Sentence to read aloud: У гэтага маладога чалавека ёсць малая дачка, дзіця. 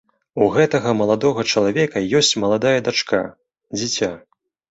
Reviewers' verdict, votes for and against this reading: rejected, 0, 2